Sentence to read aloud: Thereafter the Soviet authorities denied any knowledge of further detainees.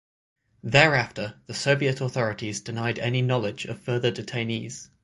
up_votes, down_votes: 6, 0